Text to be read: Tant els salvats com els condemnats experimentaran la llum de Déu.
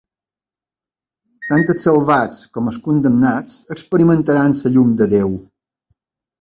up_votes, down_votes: 0, 2